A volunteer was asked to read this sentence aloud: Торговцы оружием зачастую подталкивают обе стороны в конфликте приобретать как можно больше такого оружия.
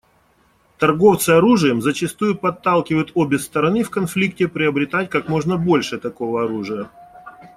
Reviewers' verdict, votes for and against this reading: accepted, 2, 0